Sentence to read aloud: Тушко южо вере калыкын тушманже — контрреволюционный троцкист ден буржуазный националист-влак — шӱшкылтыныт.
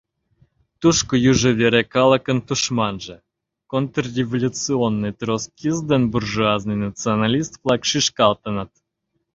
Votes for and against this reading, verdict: 1, 2, rejected